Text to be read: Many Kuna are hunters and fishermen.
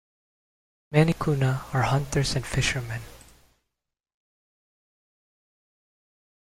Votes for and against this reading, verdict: 2, 0, accepted